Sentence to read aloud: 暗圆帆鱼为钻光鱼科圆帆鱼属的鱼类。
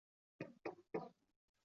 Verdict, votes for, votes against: rejected, 0, 3